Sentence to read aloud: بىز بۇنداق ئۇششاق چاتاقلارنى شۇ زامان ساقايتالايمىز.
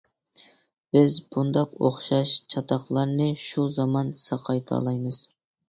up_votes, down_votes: 0, 2